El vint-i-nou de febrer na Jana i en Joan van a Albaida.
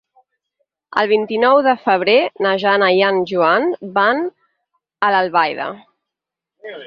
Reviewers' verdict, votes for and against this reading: accepted, 8, 2